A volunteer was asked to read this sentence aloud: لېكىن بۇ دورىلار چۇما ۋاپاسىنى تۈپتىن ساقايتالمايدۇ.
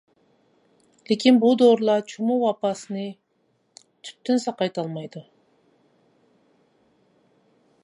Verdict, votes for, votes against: rejected, 1, 2